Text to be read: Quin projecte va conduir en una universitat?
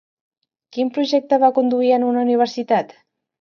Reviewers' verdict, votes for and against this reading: accepted, 2, 0